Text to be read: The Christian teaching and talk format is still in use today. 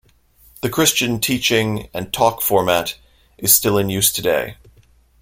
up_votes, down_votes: 2, 0